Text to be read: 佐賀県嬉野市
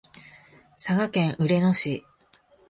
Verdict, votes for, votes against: accepted, 2, 0